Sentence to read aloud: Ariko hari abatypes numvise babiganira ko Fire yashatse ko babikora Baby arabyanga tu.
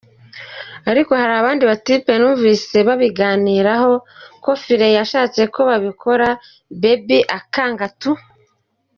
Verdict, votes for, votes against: rejected, 1, 2